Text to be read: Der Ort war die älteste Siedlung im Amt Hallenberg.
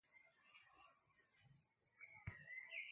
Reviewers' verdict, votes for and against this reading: rejected, 0, 2